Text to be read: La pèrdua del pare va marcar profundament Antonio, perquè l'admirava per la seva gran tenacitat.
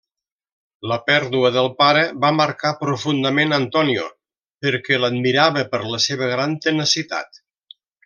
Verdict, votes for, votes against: accepted, 3, 0